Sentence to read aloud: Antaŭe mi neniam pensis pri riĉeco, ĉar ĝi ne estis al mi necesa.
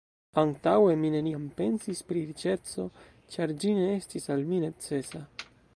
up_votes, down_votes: 2, 3